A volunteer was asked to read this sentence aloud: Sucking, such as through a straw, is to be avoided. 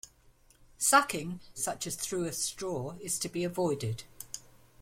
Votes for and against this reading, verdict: 3, 0, accepted